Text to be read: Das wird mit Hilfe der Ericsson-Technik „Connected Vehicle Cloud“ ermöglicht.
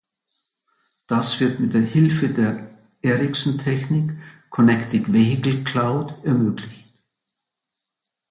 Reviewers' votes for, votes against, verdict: 0, 2, rejected